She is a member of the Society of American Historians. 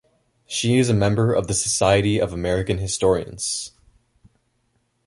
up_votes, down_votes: 2, 0